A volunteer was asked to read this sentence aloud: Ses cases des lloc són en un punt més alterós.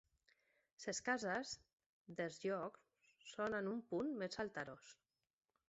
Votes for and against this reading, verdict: 1, 2, rejected